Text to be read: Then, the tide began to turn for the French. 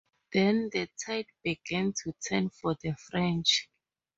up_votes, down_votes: 2, 0